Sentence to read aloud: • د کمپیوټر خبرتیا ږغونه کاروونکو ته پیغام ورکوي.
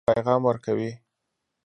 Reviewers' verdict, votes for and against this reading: rejected, 0, 2